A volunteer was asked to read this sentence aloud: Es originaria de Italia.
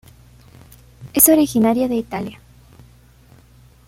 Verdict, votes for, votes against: accepted, 2, 0